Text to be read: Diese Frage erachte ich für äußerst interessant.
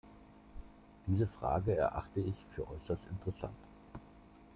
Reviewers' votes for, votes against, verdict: 2, 0, accepted